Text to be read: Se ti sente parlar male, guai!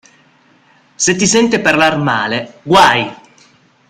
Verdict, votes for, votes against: accepted, 2, 0